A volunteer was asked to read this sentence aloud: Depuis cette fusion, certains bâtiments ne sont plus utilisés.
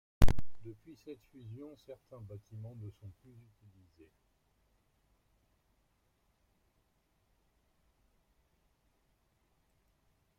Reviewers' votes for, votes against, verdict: 1, 2, rejected